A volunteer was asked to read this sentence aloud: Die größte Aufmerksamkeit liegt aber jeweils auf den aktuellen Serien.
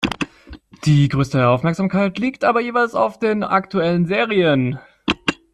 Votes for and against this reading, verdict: 2, 0, accepted